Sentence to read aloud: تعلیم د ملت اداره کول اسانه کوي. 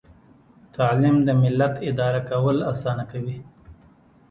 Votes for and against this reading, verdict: 2, 0, accepted